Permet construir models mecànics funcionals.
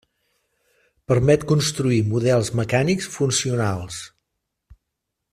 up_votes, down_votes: 3, 0